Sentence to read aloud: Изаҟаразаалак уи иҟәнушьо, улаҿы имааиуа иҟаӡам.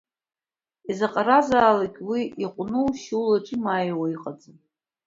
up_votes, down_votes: 2, 0